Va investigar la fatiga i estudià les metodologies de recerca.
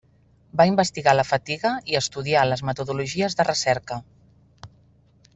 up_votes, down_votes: 2, 0